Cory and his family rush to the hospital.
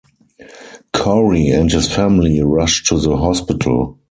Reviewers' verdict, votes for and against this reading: accepted, 4, 0